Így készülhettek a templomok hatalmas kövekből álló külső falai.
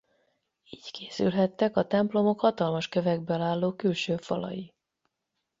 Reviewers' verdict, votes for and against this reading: rejected, 4, 8